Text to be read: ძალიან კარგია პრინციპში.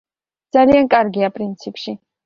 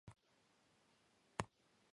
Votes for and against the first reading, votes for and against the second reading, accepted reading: 2, 0, 1, 2, first